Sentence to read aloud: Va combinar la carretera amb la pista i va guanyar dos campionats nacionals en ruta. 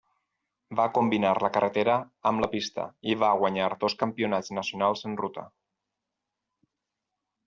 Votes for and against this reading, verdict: 6, 0, accepted